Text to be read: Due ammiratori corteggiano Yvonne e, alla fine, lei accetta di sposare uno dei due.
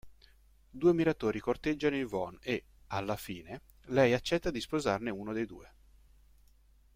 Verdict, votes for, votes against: rejected, 1, 2